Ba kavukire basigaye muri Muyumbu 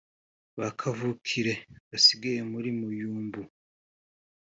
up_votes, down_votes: 2, 0